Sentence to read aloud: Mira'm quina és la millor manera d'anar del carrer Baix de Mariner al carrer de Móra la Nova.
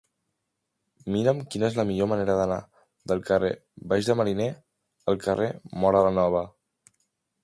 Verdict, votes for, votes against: rejected, 0, 3